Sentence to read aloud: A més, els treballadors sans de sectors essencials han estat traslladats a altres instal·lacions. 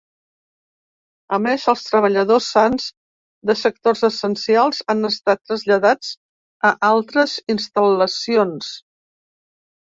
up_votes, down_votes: 2, 0